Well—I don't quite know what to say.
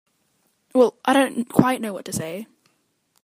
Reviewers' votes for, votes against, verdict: 2, 1, accepted